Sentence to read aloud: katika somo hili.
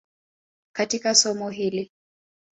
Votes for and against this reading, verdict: 2, 0, accepted